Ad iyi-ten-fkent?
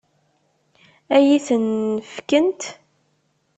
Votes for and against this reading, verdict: 1, 2, rejected